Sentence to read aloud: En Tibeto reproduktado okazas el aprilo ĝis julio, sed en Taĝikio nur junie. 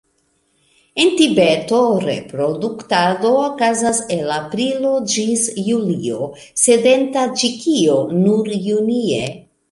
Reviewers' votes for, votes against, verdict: 0, 2, rejected